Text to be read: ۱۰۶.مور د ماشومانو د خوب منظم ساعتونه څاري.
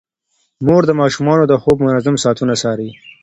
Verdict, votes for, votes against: rejected, 0, 2